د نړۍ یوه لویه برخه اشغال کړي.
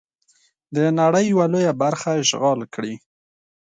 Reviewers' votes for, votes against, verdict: 2, 0, accepted